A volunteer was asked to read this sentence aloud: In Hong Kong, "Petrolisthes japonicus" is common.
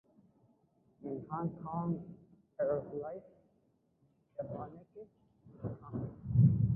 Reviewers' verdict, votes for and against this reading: rejected, 0, 2